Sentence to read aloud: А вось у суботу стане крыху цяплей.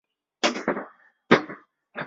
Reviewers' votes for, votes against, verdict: 0, 2, rejected